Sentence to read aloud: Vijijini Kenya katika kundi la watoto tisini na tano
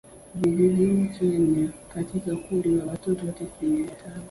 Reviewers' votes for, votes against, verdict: 2, 0, accepted